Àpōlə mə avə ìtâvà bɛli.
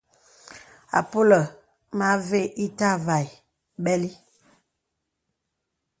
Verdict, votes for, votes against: accepted, 2, 0